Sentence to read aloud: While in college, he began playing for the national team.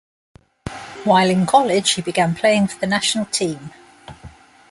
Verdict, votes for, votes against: accepted, 2, 0